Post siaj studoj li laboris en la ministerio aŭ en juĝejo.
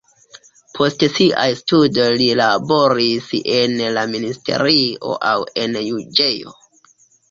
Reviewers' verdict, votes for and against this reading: accepted, 2, 0